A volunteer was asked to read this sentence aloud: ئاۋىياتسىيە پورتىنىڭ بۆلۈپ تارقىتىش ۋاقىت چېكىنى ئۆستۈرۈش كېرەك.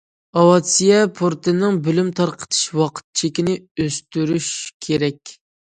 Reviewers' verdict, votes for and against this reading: rejected, 0, 2